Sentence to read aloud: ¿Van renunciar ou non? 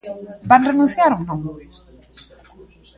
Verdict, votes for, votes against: rejected, 0, 2